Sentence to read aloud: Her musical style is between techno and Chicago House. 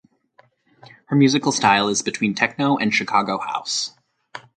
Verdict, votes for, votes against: accepted, 4, 0